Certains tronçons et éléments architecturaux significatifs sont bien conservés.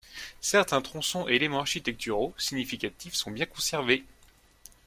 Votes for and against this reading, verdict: 2, 0, accepted